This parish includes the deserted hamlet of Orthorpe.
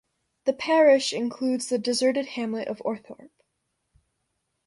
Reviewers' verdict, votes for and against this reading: accepted, 2, 0